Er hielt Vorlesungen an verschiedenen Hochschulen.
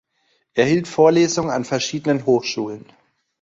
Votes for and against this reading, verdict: 1, 2, rejected